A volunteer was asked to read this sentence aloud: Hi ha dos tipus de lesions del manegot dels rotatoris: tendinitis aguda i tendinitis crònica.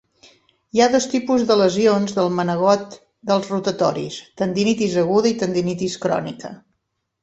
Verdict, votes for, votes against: accepted, 4, 0